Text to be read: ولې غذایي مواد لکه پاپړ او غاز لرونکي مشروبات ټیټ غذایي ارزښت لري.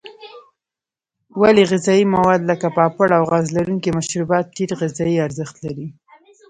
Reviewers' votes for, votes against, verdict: 2, 1, accepted